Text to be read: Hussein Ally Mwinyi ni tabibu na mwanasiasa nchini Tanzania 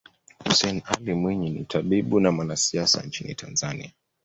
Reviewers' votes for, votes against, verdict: 2, 0, accepted